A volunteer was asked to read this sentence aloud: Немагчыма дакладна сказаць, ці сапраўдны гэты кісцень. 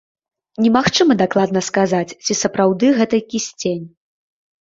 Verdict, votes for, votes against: rejected, 0, 2